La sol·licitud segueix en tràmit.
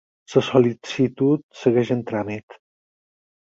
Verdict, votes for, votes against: accepted, 4, 2